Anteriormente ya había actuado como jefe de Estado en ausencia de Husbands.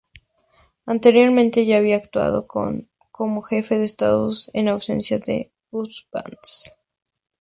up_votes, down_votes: 0, 2